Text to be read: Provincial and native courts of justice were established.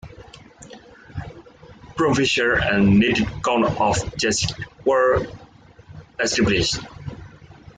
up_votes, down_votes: 1, 2